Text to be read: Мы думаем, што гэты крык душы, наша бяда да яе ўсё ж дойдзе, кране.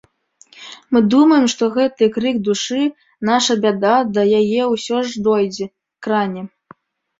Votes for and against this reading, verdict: 1, 2, rejected